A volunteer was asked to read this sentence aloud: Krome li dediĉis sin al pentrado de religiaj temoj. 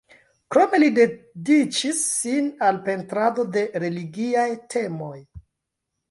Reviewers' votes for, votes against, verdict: 0, 2, rejected